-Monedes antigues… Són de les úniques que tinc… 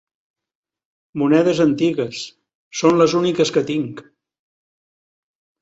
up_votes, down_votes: 0, 2